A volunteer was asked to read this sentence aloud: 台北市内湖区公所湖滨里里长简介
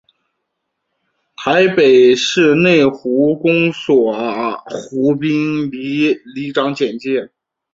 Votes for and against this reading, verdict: 8, 1, accepted